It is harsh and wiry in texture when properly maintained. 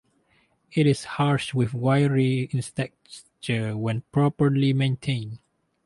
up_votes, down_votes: 0, 2